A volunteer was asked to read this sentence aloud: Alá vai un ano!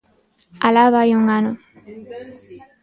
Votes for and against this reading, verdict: 2, 1, accepted